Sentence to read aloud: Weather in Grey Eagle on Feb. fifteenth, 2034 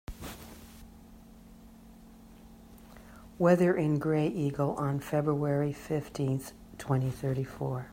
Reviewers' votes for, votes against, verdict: 0, 2, rejected